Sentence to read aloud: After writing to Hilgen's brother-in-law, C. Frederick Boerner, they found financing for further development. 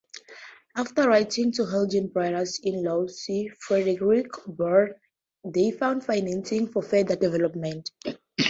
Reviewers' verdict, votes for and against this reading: accepted, 4, 0